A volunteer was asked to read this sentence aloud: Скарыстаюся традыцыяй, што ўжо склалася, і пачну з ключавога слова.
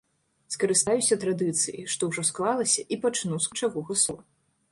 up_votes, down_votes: 0, 2